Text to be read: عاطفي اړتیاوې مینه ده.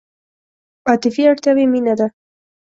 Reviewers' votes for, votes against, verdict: 3, 0, accepted